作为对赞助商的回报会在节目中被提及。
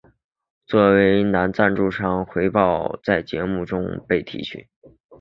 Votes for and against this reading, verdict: 2, 0, accepted